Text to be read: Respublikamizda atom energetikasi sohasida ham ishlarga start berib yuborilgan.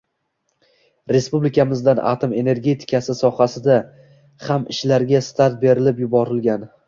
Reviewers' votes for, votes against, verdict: 2, 0, accepted